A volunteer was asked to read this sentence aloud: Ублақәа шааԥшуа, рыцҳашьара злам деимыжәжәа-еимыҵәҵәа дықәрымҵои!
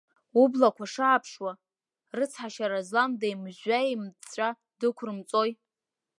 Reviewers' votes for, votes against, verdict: 2, 0, accepted